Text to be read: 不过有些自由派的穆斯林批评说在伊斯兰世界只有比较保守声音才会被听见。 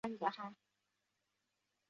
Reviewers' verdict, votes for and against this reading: rejected, 1, 3